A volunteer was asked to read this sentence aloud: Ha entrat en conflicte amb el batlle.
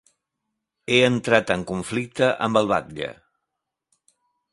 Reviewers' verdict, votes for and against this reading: rejected, 0, 2